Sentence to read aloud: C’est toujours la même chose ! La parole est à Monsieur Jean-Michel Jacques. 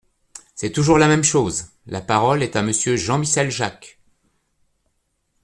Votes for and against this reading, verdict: 1, 2, rejected